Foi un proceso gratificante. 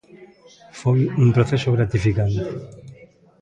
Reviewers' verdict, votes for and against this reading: accepted, 2, 0